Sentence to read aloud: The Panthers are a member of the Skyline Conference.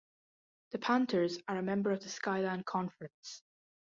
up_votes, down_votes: 2, 0